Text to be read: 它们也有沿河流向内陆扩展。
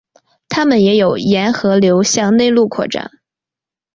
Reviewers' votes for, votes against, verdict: 2, 0, accepted